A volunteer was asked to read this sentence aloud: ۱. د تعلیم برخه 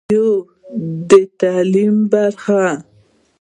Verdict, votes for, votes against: rejected, 0, 2